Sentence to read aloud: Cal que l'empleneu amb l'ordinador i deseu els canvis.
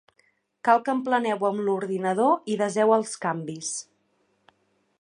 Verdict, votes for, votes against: rejected, 0, 2